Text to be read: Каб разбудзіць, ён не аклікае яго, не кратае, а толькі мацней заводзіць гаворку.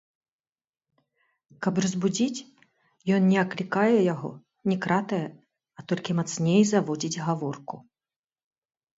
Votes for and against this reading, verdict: 1, 2, rejected